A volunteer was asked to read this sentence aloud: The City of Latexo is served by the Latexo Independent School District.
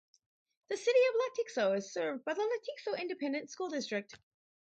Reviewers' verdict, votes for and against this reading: accepted, 2, 0